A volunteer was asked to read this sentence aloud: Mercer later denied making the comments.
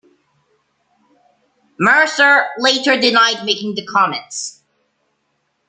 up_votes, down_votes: 2, 1